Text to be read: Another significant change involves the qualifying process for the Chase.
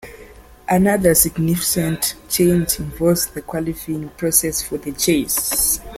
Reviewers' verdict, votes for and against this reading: rejected, 0, 2